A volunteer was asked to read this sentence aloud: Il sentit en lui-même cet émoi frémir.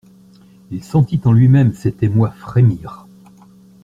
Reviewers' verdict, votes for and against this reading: accepted, 2, 0